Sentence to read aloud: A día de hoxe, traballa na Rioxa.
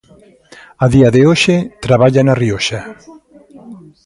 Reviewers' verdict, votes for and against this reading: accepted, 2, 0